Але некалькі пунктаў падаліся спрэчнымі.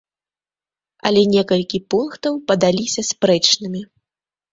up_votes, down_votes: 2, 0